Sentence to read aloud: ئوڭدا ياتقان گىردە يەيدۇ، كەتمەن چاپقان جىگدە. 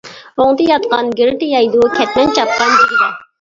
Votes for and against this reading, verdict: 1, 2, rejected